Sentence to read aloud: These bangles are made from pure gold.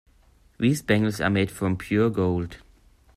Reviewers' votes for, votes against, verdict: 2, 0, accepted